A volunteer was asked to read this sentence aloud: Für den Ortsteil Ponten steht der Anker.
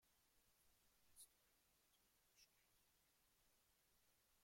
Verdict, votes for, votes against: rejected, 0, 2